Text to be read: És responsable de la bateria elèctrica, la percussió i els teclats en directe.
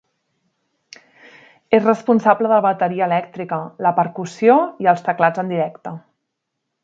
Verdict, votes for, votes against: accepted, 2, 0